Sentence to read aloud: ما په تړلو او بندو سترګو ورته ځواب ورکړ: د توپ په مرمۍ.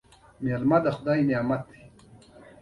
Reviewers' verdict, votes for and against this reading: rejected, 1, 2